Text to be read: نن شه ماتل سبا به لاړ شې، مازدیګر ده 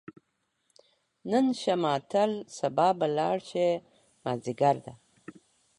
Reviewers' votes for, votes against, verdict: 2, 0, accepted